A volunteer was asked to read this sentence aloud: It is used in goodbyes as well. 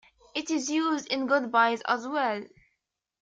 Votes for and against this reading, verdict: 2, 0, accepted